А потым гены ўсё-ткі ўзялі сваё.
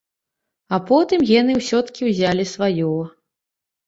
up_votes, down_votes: 2, 0